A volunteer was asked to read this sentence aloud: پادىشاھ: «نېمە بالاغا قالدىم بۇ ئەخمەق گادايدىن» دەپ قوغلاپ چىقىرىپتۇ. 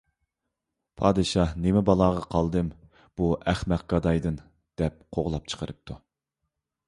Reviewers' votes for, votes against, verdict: 2, 0, accepted